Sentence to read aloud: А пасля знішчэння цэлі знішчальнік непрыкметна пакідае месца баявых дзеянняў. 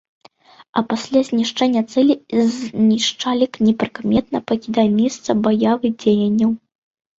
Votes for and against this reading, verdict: 0, 2, rejected